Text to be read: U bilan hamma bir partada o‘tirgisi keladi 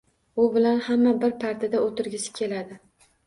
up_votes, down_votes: 2, 0